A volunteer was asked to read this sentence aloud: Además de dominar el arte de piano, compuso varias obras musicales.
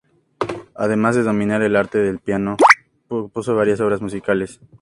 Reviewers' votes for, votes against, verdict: 2, 0, accepted